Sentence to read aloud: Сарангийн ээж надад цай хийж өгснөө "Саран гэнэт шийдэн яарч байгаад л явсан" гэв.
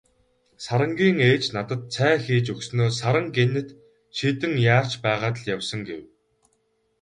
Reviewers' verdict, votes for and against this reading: rejected, 2, 2